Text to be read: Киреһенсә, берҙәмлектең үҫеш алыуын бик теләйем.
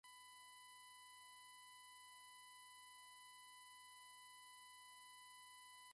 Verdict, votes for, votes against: rejected, 0, 2